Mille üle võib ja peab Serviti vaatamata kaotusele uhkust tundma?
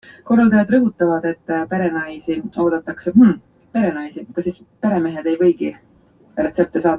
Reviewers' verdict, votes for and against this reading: rejected, 0, 2